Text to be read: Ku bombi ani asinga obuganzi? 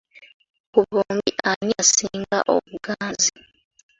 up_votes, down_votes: 2, 1